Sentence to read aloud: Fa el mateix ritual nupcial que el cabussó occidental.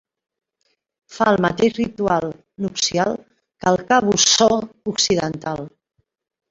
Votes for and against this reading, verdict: 3, 0, accepted